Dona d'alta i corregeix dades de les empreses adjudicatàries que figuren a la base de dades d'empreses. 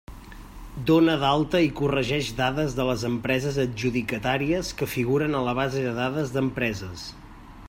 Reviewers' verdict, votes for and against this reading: accepted, 3, 0